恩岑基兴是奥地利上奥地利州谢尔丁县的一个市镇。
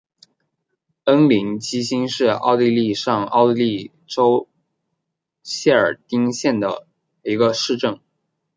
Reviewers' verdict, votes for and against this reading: rejected, 1, 2